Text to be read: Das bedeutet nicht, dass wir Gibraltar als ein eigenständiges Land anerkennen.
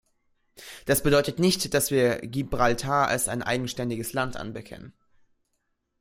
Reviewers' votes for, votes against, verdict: 1, 2, rejected